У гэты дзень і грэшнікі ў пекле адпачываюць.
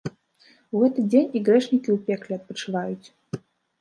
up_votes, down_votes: 2, 1